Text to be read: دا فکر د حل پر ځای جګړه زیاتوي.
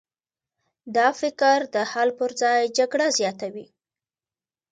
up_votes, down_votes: 2, 0